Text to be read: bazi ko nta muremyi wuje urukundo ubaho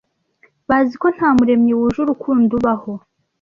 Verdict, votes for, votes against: accepted, 2, 0